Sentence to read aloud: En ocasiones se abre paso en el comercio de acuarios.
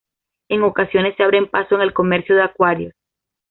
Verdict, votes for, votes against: accepted, 2, 0